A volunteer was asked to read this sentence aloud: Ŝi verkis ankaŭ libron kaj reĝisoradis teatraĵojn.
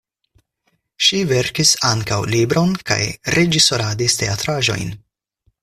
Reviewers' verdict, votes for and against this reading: accepted, 4, 0